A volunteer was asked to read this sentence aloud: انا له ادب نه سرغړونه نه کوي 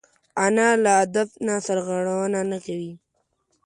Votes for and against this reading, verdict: 2, 0, accepted